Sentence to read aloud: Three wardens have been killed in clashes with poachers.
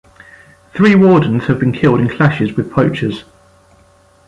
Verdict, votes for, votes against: accepted, 2, 0